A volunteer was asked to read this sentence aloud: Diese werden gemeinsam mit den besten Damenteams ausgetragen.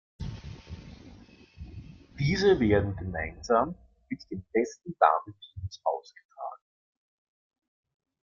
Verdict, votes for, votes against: rejected, 1, 2